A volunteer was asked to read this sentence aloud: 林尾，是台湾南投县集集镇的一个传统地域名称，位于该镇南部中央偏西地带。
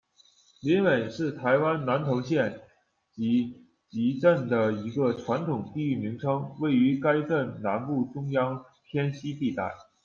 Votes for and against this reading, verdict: 1, 2, rejected